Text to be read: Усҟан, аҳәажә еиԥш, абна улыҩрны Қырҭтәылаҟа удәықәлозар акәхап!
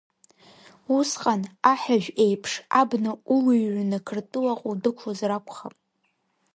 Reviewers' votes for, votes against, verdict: 0, 2, rejected